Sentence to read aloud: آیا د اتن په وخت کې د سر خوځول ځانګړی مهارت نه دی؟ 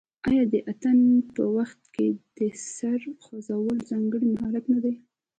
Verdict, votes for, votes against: accepted, 2, 1